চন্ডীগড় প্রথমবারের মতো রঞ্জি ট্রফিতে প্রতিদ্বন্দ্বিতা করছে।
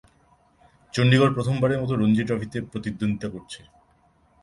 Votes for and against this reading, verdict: 0, 2, rejected